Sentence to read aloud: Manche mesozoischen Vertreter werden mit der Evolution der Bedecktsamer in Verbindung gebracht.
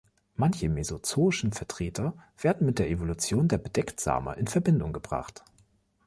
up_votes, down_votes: 2, 0